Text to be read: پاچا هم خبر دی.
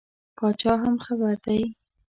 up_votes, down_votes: 2, 0